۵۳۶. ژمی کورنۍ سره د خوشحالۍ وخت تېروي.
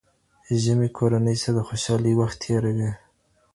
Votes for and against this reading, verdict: 0, 2, rejected